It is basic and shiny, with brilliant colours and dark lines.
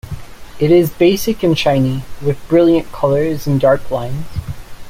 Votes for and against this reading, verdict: 1, 2, rejected